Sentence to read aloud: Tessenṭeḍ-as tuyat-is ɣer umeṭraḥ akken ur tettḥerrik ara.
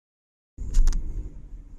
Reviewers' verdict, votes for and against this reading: rejected, 0, 2